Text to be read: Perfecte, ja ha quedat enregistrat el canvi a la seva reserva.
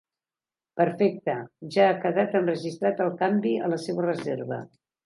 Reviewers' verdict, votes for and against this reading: accepted, 3, 0